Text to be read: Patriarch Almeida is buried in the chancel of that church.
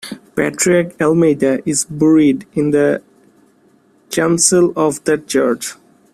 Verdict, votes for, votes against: rejected, 0, 2